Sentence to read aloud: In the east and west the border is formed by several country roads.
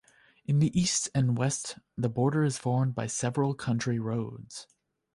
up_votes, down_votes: 2, 0